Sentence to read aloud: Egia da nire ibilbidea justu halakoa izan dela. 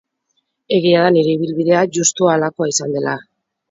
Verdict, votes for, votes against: rejected, 2, 2